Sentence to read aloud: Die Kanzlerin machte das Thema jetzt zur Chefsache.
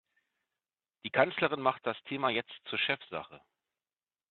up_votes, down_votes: 0, 2